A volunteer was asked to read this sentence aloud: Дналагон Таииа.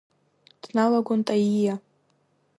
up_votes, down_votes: 1, 2